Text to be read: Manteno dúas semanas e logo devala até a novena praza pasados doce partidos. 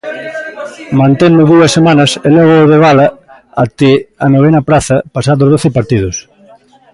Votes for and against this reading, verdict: 0, 2, rejected